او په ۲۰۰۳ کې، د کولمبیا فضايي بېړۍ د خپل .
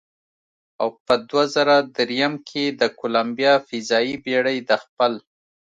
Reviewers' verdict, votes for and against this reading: rejected, 0, 2